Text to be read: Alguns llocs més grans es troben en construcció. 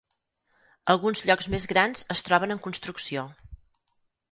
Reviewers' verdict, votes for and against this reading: accepted, 4, 0